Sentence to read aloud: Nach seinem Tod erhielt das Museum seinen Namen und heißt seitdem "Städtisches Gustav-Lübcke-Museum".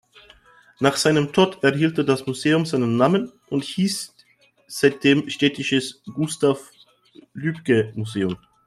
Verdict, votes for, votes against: rejected, 1, 2